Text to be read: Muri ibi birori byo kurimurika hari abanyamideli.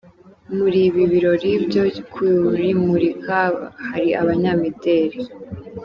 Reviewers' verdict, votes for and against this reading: rejected, 0, 2